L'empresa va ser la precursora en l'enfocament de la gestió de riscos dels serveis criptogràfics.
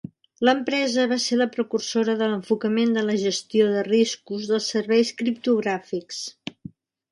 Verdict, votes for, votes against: rejected, 1, 2